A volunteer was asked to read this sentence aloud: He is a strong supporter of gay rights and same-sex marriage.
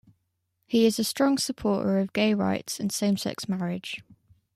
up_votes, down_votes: 0, 2